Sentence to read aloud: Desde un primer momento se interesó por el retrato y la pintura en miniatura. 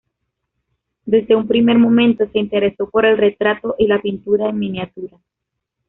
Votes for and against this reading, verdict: 2, 0, accepted